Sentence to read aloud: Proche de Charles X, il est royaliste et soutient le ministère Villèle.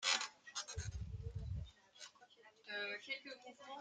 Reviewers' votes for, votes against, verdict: 0, 2, rejected